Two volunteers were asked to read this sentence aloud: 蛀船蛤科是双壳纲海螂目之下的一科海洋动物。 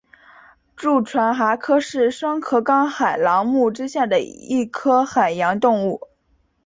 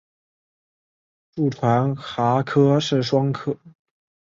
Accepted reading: first